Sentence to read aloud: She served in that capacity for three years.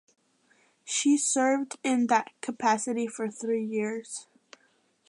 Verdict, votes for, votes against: accepted, 2, 0